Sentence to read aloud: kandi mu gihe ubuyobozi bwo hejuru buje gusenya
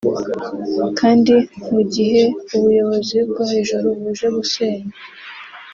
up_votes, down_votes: 2, 0